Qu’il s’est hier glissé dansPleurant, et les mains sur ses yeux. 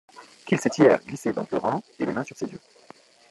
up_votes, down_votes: 0, 2